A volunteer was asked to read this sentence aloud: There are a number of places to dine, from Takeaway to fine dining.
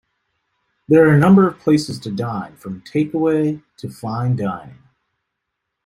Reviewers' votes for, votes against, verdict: 2, 0, accepted